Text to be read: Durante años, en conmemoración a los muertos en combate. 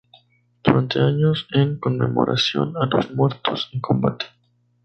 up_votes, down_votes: 2, 4